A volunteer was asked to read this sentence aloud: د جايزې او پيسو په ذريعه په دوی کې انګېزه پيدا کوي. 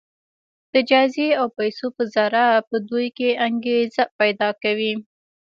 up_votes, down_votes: 1, 2